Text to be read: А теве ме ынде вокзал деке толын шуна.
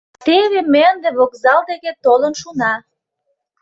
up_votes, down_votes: 1, 2